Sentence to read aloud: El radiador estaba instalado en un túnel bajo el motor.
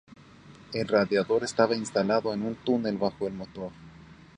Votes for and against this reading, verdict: 2, 0, accepted